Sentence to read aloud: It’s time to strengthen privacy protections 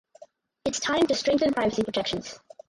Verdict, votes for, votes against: rejected, 2, 2